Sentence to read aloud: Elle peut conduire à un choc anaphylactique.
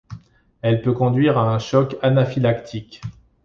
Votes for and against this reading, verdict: 2, 0, accepted